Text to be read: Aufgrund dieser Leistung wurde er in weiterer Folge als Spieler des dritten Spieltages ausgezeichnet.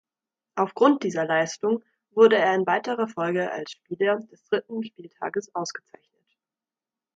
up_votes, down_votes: 2, 1